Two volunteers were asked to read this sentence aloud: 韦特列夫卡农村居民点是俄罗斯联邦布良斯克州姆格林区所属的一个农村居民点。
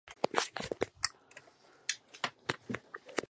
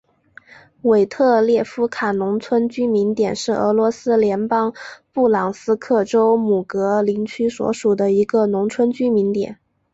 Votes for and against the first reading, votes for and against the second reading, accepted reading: 0, 3, 6, 1, second